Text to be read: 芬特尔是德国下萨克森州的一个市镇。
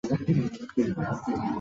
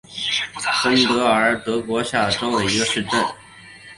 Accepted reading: second